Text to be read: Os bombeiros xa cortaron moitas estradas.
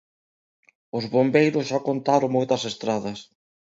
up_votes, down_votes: 1, 2